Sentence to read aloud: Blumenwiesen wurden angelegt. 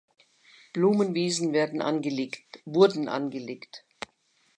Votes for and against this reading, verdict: 0, 2, rejected